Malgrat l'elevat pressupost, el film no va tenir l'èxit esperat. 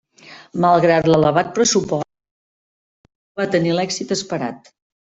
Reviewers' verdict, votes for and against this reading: rejected, 0, 2